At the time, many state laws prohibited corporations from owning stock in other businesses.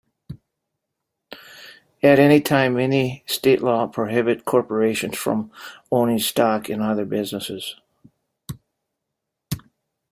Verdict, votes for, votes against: rejected, 0, 2